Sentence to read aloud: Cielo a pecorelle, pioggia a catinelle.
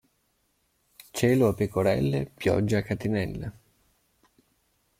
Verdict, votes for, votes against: accepted, 2, 0